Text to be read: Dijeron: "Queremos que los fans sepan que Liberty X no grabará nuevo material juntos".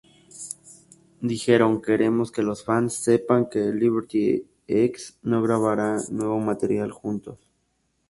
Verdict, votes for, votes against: accepted, 4, 0